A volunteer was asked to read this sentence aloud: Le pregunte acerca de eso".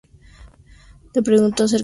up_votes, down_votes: 0, 2